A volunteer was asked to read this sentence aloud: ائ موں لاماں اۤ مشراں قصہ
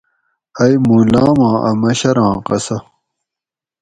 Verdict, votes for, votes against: accepted, 4, 0